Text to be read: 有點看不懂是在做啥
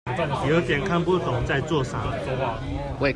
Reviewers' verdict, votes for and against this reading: rejected, 1, 2